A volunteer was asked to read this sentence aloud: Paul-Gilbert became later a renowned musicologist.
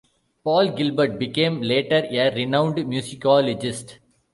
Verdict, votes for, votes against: rejected, 1, 2